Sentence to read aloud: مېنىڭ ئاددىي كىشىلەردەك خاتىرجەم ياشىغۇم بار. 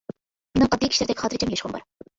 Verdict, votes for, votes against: rejected, 1, 2